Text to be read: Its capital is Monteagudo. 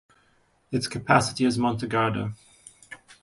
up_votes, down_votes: 1, 2